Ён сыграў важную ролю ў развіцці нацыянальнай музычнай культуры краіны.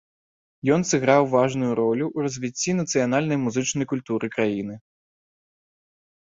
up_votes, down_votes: 2, 0